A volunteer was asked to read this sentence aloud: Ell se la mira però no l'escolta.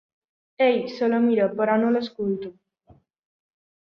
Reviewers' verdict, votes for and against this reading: rejected, 2, 3